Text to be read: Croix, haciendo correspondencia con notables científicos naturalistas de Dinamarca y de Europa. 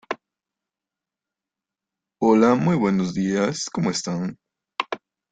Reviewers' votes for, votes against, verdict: 0, 2, rejected